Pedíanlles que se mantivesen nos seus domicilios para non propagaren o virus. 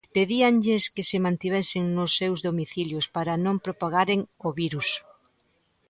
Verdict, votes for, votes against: accepted, 2, 0